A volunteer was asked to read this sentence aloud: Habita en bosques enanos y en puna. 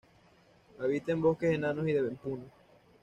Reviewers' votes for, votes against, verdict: 1, 2, rejected